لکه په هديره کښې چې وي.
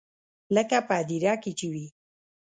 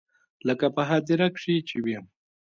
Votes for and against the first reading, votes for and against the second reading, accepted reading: 0, 2, 2, 1, second